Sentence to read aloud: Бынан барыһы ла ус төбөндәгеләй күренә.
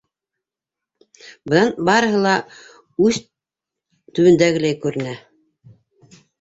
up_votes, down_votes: 0, 2